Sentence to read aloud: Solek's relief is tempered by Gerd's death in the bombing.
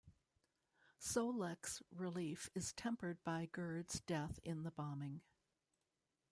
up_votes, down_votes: 1, 2